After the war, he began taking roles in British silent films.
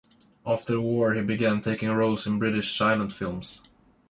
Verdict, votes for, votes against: rejected, 1, 2